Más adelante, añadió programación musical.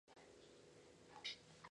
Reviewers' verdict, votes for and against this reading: rejected, 0, 2